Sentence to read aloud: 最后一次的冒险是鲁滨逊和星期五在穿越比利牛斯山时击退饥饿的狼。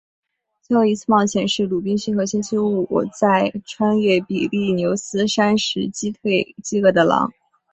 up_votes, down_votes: 2, 0